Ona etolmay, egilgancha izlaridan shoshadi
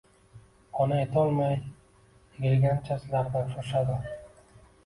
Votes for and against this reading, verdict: 1, 2, rejected